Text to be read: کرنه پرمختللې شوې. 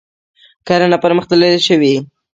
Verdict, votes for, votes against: rejected, 1, 2